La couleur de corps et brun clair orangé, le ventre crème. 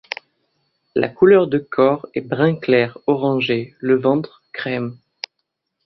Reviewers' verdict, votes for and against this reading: accepted, 2, 0